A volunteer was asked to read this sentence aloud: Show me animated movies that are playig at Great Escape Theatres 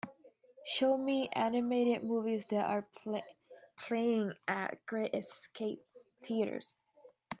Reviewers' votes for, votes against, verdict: 1, 2, rejected